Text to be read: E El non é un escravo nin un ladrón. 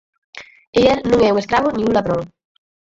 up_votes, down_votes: 0, 8